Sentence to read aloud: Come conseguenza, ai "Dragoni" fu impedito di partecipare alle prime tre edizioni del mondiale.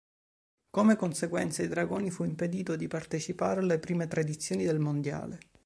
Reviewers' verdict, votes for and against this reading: accepted, 2, 0